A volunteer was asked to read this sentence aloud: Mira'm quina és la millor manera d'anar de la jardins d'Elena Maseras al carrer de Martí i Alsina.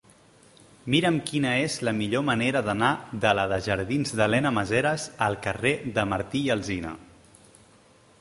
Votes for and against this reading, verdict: 2, 3, rejected